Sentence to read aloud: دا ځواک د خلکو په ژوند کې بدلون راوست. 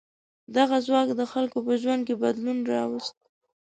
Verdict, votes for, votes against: rejected, 1, 2